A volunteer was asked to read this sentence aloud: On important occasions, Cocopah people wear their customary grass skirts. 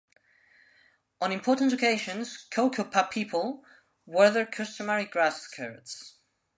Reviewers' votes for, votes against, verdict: 2, 1, accepted